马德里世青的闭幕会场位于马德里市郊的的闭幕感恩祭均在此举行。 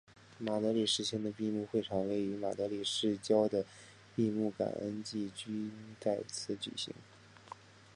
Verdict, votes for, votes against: accepted, 3, 2